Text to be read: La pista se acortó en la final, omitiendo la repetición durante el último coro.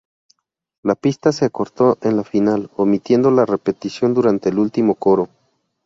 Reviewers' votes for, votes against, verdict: 0, 2, rejected